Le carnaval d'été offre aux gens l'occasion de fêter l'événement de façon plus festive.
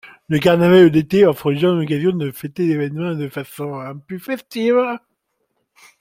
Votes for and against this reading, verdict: 1, 2, rejected